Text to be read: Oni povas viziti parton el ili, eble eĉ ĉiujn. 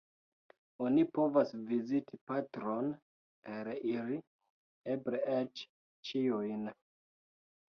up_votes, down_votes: 0, 2